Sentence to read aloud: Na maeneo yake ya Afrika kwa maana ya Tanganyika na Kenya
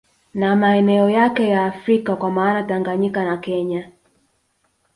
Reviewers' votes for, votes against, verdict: 2, 0, accepted